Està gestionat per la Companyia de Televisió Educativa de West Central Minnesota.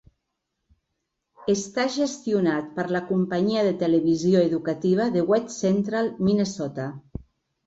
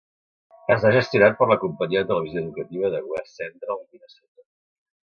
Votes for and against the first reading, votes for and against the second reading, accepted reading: 3, 0, 1, 2, first